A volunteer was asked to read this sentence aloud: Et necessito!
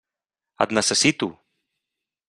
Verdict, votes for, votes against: accepted, 3, 0